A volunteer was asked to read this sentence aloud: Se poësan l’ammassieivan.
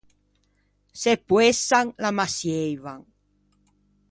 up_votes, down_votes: 2, 0